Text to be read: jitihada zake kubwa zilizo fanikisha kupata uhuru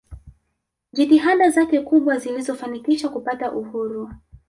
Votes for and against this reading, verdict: 2, 0, accepted